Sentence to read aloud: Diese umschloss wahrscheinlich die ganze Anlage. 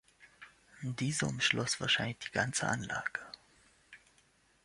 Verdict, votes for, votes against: rejected, 1, 2